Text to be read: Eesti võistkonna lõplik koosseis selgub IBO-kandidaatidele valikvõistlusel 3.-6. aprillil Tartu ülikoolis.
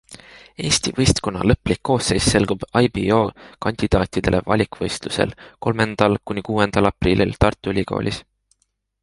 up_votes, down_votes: 0, 2